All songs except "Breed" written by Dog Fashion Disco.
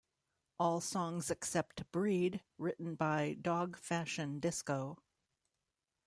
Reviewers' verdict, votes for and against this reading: accepted, 2, 0